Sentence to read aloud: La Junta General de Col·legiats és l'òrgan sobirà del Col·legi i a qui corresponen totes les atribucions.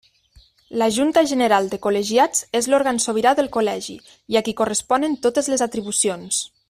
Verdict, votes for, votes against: accepted, 2, 0